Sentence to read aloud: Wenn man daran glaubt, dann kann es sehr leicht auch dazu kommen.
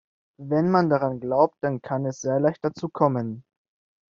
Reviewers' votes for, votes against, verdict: 1, 2, rejected